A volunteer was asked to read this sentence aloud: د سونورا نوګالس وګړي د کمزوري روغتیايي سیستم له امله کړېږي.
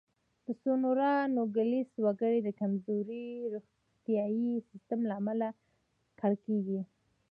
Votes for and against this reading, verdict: 1, 2, rejected